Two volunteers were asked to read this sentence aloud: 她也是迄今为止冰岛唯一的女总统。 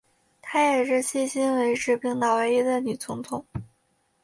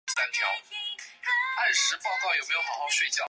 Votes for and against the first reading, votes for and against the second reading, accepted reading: 2, 1, 3, 4, first